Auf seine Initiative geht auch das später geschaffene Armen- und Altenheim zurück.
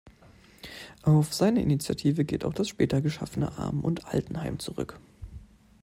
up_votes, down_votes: 2, 0